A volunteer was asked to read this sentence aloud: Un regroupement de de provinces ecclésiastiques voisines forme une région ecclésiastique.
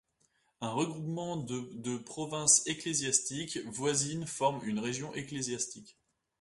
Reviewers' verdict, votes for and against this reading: accepted, 2, 0